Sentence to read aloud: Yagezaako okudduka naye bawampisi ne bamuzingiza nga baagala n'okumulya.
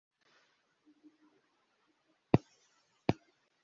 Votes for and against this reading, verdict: 1, 2, rejected